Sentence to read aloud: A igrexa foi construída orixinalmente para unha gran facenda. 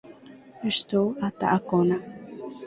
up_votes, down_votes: 0, 4